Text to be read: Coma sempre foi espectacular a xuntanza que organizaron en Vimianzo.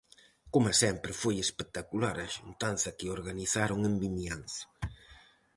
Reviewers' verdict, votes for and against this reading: accepted, 4, 0